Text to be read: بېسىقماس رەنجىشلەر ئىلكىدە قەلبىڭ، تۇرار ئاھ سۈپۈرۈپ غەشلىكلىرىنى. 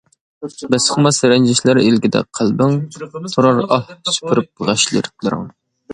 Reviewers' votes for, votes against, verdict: 0, 2, rejected